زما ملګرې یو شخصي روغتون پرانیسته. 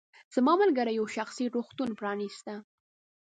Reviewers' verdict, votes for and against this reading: rejected, 1, 2